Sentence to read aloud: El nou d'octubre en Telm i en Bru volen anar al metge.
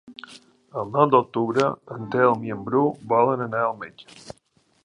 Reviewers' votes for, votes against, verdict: 0, 2, rejected